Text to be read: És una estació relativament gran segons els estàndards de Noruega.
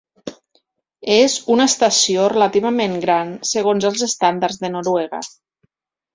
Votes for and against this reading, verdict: 2, 0, accepted